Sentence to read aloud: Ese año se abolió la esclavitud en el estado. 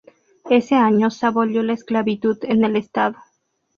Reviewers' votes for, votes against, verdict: 2, 0, accepted